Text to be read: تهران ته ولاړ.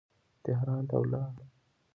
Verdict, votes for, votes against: rejected, 0, 2